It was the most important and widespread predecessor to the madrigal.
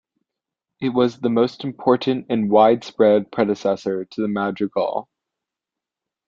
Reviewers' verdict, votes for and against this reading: accepted, 2, 0